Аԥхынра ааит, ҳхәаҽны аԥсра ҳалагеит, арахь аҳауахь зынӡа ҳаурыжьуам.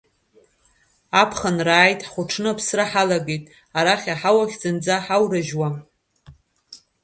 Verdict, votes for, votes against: rejected, 1, 2